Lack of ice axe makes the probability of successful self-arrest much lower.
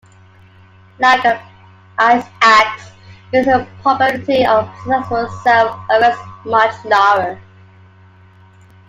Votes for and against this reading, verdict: 1, 2, rejected